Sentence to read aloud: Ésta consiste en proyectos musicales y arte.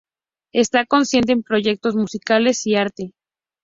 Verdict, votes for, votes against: accepted, 2, 0